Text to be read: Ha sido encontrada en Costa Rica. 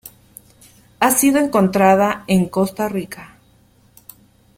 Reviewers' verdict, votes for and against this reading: accepted, 2, 0